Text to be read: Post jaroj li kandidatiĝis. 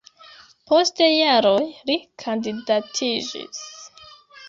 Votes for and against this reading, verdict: 1, 2, rejected